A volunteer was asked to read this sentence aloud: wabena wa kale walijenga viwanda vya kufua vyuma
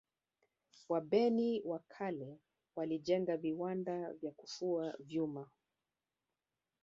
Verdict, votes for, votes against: rejected, 1, 2